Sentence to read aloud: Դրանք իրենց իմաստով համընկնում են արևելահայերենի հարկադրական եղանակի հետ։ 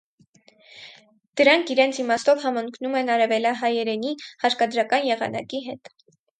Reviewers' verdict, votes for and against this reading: accepted, 4, 0